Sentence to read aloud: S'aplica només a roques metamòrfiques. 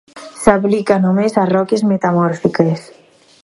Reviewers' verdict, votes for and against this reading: accepted, 4, 0